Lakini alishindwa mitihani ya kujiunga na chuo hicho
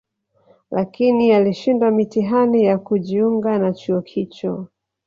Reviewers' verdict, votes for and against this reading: accepted, 2, 1